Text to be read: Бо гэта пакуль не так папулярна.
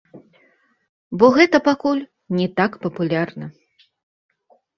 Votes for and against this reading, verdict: 1, 2, rejected